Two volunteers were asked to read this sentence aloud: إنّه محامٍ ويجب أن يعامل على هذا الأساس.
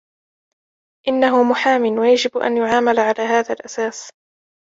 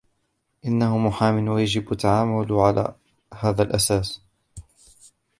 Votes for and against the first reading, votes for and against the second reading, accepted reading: 2, 1, 1, 2, first